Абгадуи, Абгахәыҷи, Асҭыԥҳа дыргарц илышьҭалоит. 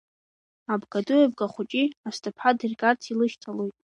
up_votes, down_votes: 1, 2